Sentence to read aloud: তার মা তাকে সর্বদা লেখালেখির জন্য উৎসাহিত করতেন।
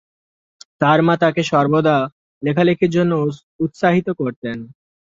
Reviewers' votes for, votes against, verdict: 4, 3, accepted